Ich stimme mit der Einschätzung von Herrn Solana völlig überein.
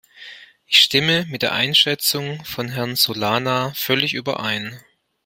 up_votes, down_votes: 2, 0